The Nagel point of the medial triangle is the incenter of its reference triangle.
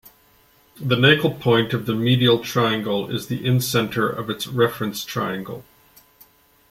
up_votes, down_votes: 2, 0